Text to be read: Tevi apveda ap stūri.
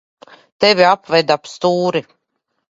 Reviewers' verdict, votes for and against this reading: rejected, 0, 2